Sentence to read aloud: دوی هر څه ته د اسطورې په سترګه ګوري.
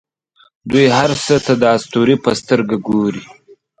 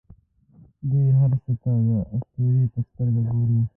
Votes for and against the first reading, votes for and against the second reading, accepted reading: 3, 0, 1, 2, first